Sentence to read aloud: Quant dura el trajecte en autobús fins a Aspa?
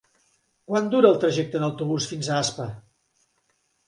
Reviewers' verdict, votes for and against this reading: accepted, 4, 0